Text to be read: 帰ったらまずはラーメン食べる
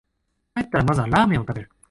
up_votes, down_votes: 1, 2